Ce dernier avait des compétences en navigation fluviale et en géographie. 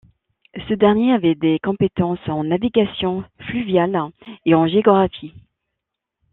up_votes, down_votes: 1, 2